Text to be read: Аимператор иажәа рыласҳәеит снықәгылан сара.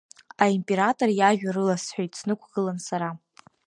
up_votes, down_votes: 2, 0